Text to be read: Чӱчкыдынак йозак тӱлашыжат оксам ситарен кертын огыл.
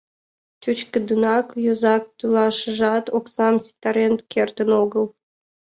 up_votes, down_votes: 2, 0